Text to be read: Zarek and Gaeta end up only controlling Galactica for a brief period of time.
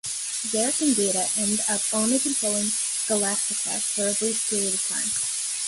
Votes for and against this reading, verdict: 1, 2, rejected